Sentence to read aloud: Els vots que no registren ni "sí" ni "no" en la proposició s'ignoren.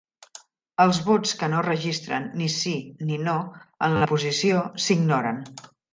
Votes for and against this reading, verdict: 0, 2, rejected